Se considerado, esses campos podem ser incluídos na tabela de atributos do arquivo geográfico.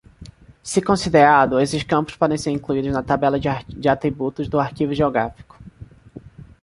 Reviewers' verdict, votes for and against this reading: rejected, 1, 2